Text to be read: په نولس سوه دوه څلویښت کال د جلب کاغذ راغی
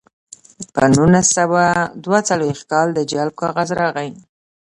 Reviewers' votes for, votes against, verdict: 2, 0, accepted